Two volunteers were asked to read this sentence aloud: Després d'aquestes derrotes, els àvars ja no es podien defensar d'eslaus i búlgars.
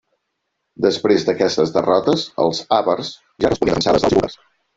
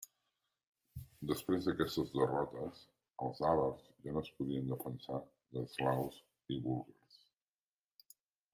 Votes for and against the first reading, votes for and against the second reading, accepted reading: 0, 3, 2, 0, second